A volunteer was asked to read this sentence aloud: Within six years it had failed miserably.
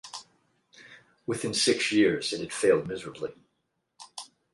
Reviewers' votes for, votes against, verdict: 4, 8, rejected